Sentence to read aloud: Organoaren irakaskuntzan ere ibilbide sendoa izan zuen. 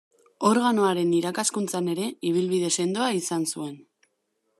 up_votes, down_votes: 2, 0